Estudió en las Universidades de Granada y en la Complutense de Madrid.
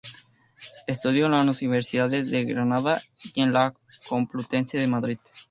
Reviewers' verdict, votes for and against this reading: accepted, 2, 0